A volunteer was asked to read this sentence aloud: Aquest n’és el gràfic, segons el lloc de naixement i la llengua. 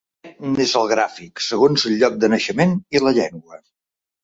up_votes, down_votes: 0, 2